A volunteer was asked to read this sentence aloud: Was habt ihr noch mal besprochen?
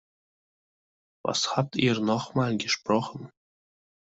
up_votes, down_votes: 0, 2